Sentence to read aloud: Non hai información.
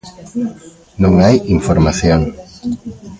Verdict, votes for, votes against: rejected, 1, 2